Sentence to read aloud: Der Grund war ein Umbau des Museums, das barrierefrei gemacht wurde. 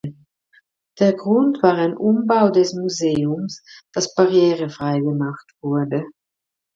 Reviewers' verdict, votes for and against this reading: accepted, 2, 0